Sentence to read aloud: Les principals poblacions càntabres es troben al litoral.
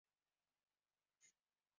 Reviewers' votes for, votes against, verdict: 0, 2, rejected